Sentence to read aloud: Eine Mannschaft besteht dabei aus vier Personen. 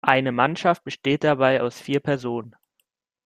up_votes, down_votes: 2, 0